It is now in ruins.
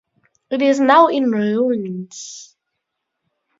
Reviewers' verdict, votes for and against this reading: accepted, 4, 2